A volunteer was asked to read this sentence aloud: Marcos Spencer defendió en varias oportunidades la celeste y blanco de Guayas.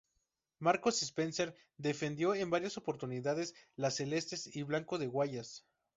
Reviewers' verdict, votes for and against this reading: accepted, 2, 0